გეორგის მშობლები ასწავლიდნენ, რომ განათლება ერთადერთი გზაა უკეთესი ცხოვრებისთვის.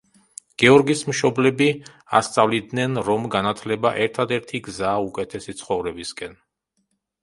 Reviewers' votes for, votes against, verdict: 0, 2, rejected